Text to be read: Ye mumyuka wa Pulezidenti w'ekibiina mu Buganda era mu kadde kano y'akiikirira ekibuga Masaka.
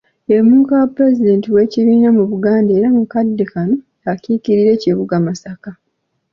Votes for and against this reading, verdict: 2, 0, accepted